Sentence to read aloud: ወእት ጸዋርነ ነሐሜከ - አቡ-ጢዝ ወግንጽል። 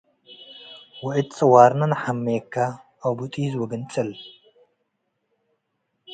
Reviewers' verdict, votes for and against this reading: accepted, 2, 0